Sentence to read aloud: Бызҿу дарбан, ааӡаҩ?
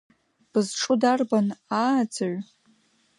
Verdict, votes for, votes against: accepted, 2, 0